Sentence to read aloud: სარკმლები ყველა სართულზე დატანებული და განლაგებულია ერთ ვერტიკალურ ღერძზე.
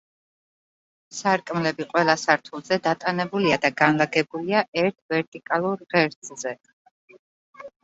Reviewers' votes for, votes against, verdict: 0, 2, rejected